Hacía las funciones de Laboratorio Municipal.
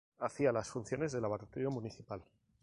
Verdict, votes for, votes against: accepted, 2, 0